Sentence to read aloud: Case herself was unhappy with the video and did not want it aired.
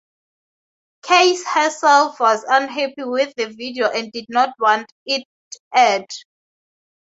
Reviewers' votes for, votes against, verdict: 0, 2, rejected